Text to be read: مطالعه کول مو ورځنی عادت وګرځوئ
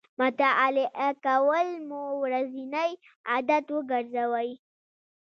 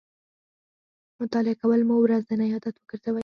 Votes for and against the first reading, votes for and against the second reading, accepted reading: 1, 2, 4, 0, second